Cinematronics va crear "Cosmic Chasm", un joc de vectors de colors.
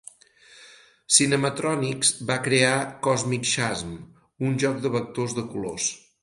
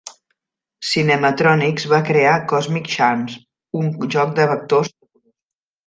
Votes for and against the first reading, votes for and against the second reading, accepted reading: 4, 0, 0, 2, first